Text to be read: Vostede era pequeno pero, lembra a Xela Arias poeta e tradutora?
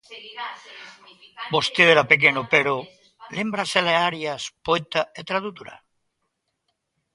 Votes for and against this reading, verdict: 0, 2, rejected